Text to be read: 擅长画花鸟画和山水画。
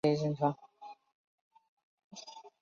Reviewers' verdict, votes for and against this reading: rejected, 1, 3